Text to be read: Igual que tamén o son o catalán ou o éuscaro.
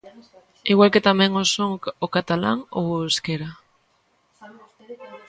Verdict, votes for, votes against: rejected, 0, 2